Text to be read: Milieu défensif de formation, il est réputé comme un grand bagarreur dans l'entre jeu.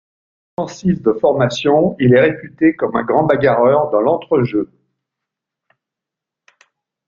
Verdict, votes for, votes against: rejected, 1, 2